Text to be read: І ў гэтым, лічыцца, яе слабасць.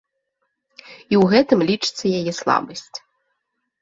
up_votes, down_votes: 2, 0